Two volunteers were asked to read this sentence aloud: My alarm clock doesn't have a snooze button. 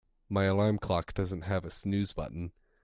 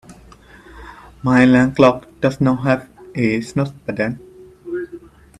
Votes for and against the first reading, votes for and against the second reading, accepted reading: 2, 0, 0, 2, first